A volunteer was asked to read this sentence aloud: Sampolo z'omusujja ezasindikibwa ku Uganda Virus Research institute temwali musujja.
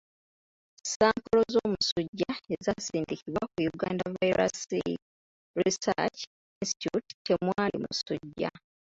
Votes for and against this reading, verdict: 0, 2, rejected